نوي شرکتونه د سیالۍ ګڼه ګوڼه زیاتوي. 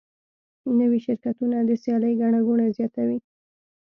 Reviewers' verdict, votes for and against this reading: accepted, 2, 0